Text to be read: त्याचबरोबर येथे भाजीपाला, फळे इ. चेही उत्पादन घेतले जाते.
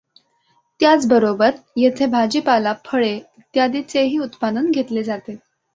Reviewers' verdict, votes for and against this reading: accepted, 2, 1